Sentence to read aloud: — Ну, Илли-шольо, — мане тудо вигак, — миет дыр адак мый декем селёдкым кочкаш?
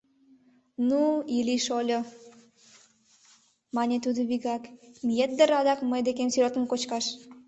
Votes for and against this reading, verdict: 3, 0, accepted